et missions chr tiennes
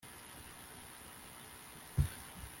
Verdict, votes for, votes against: rejected, 0, 2